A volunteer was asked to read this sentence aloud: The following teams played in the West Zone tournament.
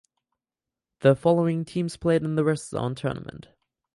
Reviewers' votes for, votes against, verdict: 0, 4, rejected